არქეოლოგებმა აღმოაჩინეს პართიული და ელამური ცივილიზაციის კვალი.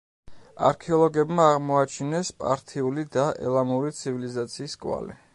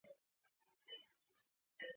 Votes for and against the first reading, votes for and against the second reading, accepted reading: 2, 0, 0, 2, first